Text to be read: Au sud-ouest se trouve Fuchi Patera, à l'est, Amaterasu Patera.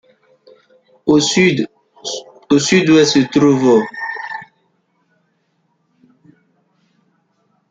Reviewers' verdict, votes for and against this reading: rejected, 0, 2